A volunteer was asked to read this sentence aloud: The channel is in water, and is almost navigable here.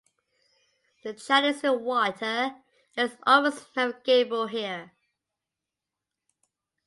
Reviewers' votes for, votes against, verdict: 1, 2, rejected